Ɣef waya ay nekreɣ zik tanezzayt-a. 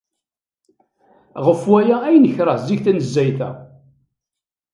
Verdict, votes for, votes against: rejected, 1, 2